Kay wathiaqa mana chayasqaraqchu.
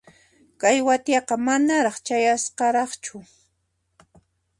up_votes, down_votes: 0, 2